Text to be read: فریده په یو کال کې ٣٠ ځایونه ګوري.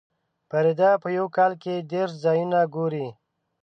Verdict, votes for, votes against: rejected, 0, 2